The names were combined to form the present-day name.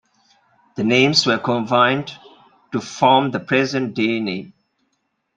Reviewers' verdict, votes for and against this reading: accepted, 2, 0